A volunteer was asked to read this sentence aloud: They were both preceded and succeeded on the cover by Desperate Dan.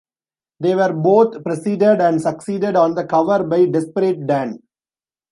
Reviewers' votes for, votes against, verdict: 2, 0, accepted